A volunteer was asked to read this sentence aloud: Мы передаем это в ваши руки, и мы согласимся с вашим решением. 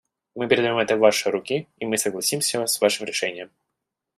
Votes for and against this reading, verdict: 2, 1, accepted